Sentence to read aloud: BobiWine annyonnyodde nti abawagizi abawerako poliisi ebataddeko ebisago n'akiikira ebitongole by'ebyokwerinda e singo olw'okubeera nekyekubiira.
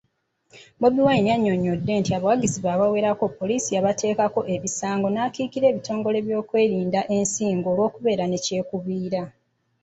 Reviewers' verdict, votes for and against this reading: rejected, 0, 2